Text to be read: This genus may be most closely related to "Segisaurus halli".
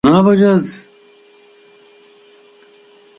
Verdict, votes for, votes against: rejected, 0, 2